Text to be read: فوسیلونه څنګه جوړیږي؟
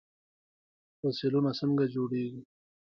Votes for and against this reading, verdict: 2, 1, accepted